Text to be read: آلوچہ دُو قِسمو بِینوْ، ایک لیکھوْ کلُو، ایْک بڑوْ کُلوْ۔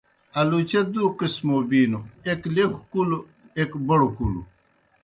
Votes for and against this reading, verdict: 2, 0, accepted